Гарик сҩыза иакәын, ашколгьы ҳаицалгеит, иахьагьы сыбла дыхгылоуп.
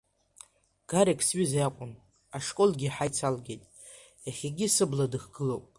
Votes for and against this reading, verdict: 2, 0, accepted